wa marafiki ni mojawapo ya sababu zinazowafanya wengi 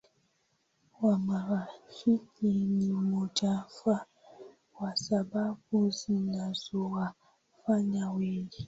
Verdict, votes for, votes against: accepted, 9, 7